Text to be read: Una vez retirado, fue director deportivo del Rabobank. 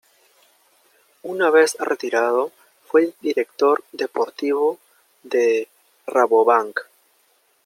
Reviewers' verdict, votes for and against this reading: rejected, 1, 2